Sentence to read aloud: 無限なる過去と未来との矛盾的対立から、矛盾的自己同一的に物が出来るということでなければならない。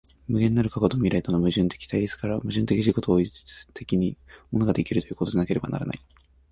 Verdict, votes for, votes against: rejected, 1, 2